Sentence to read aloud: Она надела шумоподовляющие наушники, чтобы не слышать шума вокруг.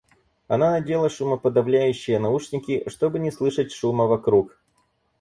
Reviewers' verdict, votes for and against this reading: accepted, 4, 0